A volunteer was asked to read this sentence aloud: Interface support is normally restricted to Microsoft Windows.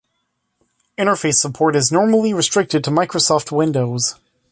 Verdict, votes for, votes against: accepted, 3, 0